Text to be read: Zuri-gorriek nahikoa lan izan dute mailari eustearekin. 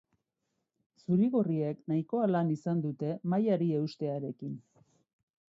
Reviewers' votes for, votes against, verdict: 4, 0, accepted